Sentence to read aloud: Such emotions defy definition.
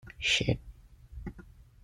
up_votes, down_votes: 0, 2